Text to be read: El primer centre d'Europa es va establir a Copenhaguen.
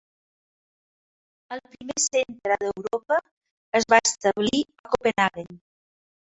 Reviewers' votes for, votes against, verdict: 0, 2, rejected